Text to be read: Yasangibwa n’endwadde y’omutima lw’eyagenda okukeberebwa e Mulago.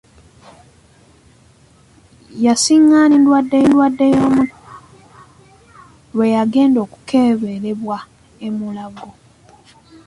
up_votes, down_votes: 0, 2